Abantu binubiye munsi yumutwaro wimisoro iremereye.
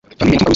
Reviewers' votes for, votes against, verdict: 1, 2, rejected